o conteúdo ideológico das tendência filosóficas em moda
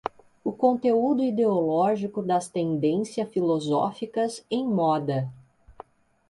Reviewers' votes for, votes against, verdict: 2, 0, accepted